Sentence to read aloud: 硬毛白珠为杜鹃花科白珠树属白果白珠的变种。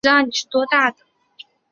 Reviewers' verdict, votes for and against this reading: rejected, 0, 6